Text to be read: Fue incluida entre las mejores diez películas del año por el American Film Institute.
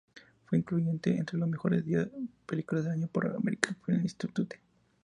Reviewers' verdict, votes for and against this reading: rejected, 0, 2